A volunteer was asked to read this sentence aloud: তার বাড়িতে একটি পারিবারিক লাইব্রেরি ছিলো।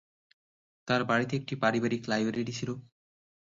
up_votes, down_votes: 3, 0